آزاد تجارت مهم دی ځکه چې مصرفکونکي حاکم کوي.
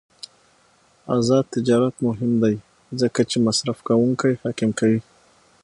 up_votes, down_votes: 6, 0